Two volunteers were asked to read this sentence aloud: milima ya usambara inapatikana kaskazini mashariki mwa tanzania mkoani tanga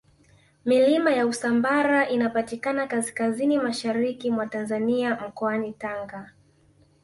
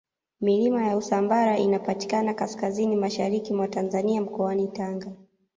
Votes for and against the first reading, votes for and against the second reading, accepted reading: 1, 2, 2, 1, second